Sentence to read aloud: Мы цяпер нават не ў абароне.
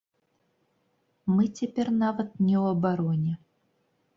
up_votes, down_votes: 2, 0